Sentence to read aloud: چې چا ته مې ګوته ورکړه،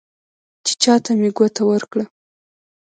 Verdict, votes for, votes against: rejected, 0, 2